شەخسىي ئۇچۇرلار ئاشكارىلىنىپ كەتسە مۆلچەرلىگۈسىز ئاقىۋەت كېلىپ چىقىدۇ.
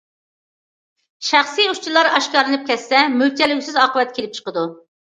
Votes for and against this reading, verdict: 2, 1, accepted